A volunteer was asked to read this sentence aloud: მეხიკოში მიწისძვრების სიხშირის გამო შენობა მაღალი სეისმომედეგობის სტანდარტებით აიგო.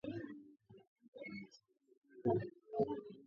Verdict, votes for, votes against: rejected, 0, 2